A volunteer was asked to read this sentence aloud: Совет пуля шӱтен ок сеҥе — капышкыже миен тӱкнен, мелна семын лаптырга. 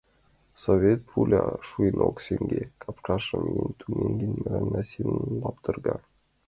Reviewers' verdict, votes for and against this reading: rejected, 1, 2